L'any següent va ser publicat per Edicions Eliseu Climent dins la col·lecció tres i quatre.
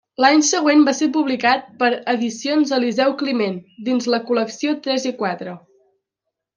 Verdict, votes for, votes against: accepted, 2, 0